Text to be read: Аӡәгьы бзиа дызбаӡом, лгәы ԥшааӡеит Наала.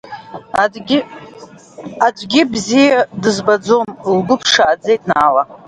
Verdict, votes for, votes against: rejected, 0, 2